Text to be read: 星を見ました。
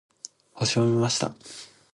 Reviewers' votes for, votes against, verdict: 2, 0, accepted